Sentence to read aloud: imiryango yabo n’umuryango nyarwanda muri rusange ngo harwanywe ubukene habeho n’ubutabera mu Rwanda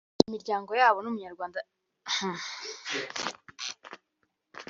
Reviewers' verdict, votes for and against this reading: rejected, 1, 2